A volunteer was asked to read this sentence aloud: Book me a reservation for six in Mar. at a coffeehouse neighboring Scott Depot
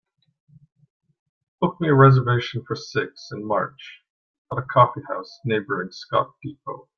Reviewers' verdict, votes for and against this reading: accepted, 2, 1